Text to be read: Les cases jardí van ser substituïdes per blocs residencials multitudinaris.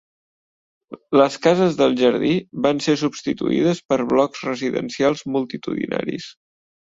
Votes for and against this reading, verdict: 0, 2, rejected